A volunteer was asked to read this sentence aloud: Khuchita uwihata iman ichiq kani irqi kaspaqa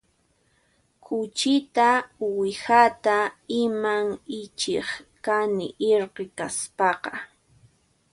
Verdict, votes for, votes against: rejected, 0, 2